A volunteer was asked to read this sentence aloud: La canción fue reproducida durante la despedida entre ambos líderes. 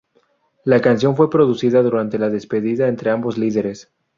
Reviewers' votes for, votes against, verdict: 0, 2, rejected